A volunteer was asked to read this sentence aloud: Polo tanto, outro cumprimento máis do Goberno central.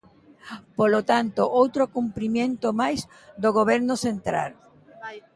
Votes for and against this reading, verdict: 1, 2, rejected